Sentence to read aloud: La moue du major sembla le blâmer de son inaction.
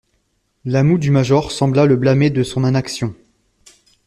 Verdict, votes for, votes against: rejected, 1, 2